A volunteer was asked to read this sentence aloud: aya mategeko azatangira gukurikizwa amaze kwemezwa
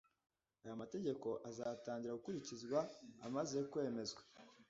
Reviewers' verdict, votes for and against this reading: accepted, 2, 0